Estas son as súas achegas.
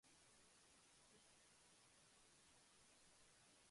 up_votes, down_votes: 0, 2